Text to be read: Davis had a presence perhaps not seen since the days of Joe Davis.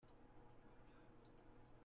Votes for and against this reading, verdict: 0, 2, rejected